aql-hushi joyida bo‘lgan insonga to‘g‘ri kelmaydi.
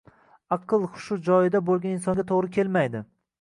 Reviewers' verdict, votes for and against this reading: rejected, 1, 2